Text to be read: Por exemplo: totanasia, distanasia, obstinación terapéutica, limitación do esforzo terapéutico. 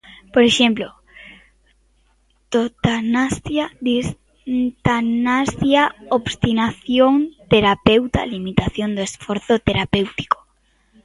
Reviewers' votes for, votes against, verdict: 1, 2, rejected